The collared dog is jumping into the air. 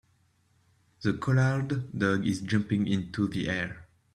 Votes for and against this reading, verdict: 2, 0, accepted